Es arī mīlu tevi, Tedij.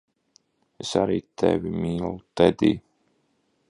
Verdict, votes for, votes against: rejected, 0, 2